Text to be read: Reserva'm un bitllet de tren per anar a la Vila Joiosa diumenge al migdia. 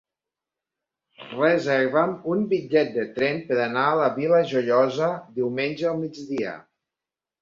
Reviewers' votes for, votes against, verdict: 3, 1, accepted